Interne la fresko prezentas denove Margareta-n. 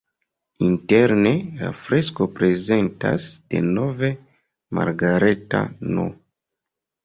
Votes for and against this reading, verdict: 0, 2, rejected